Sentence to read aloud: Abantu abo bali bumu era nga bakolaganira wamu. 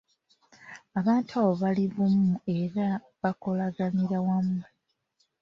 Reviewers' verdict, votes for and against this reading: accepted, 2, 1